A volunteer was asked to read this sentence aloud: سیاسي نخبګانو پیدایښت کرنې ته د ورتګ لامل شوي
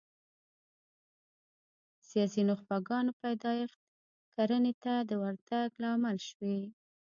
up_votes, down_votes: 1, 2